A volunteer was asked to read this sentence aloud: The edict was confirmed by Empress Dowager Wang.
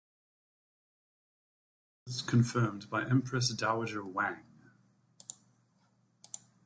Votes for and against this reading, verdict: 1, 2, rejected